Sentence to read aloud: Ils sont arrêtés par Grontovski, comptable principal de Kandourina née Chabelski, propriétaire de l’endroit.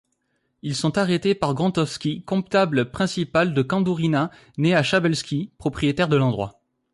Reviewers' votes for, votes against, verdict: 2, 3, rejected